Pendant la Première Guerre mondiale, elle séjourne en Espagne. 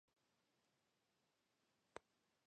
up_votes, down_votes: 0, 2